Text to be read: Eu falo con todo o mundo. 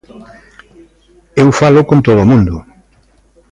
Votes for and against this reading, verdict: 2, 0, accepted